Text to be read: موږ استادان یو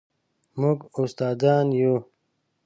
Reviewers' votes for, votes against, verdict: 2, 0, accepted